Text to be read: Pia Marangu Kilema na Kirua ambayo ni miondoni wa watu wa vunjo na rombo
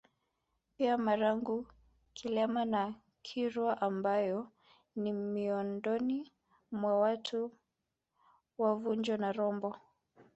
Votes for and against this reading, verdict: 2, 1, accepted